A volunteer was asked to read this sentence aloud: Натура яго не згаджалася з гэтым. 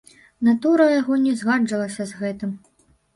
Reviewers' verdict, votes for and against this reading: rejected, 0, 2